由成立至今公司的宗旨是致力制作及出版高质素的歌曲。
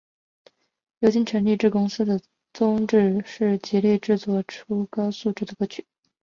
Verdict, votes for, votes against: rejected, 0, 2